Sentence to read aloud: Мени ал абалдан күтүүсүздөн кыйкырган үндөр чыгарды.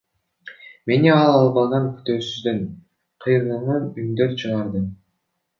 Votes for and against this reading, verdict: 0, 2, rejected